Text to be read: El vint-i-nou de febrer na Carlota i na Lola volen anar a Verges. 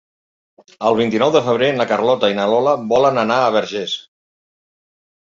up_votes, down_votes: 0, 2